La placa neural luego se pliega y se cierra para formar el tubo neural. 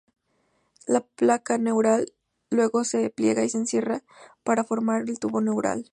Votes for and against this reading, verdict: 0, 2, rejected